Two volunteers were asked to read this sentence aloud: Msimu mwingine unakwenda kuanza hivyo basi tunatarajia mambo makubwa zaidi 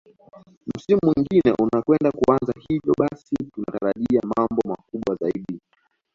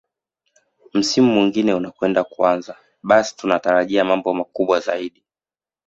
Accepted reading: second